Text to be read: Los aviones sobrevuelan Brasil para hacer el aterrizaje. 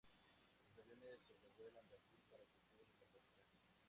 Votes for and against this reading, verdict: 0, 2, rejected